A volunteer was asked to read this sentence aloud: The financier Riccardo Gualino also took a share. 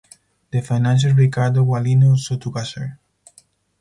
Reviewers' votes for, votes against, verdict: 0, 2, rejected